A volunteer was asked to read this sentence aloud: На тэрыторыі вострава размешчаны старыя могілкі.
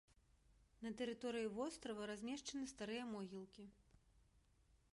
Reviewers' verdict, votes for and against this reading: accepted, 2, 0